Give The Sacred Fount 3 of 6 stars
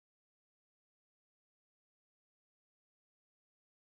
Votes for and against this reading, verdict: 0, 2, rejected